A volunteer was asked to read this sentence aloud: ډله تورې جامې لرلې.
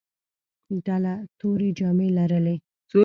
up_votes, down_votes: 2, 0